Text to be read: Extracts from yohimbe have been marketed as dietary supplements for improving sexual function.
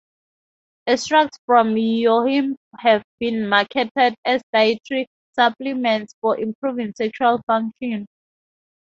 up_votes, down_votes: 2, 0